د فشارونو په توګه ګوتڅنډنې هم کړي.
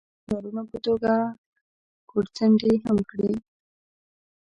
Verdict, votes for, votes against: rejected, 1, 2